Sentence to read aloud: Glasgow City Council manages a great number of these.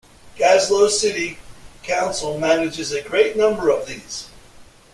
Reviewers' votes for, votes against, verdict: 0, 2, rejected